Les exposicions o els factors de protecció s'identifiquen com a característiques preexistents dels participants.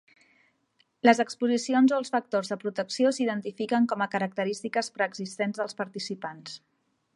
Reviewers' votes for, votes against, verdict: 3, 0, accepted